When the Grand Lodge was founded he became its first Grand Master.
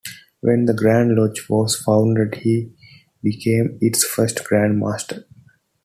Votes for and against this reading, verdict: 2, 0, accepted